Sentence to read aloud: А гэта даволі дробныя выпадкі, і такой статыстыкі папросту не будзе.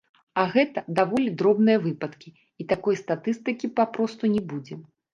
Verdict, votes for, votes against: accepted, 2, 0